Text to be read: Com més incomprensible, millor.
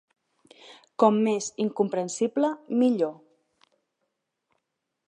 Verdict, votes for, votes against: accepted, 3, 0